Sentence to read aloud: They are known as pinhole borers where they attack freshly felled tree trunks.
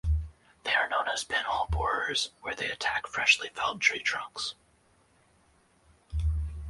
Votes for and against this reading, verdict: 2, 2, rejected